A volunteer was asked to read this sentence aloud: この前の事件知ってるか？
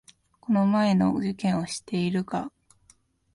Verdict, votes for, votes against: rejected, 1, 2